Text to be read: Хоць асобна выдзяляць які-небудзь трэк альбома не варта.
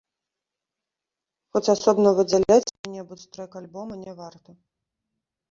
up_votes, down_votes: 1, 2